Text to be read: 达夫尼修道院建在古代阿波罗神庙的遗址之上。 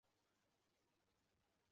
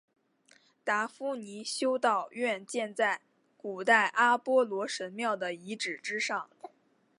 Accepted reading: second